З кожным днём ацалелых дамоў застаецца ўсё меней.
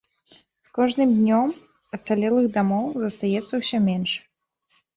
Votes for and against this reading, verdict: 1, 2, rejected